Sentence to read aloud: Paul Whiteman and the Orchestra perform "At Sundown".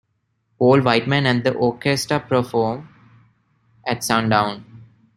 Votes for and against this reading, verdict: 1, 2, rejected